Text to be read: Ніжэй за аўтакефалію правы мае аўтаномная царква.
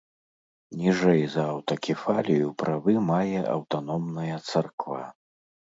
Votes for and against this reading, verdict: 3, 0, accepted